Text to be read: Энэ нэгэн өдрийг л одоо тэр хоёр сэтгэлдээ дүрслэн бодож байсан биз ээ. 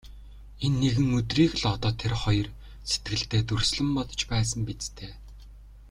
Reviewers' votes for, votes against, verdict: 1, 2, rejected